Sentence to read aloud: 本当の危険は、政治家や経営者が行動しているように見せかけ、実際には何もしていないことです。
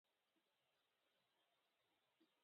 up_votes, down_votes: 0, 2